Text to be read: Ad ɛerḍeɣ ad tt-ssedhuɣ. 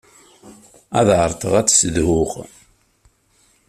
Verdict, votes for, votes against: accepted, 2, 0